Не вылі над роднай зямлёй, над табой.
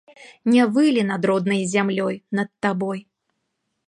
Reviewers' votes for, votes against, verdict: 2, 0, accepted